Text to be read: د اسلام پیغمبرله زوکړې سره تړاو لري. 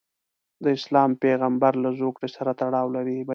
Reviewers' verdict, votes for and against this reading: accepted, 3, 0